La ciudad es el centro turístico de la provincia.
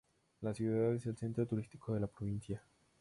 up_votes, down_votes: 2, 2